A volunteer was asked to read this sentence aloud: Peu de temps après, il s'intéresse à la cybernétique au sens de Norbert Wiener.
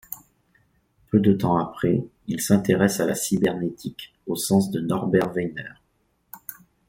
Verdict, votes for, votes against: rejected, 0, 2